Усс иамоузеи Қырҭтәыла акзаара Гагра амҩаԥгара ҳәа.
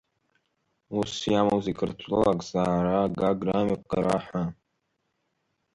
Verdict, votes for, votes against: rejected, 1, 2